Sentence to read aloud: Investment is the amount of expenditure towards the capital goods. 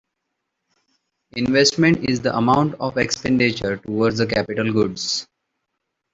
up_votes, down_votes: 0, 2